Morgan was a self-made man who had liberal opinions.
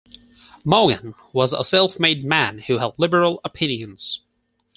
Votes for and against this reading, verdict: 4, 0, accepted